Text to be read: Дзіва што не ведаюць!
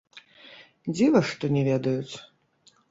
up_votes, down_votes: 0, 2